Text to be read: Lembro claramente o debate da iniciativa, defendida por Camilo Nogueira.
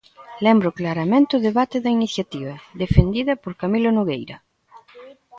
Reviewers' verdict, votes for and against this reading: rejected, 0, 2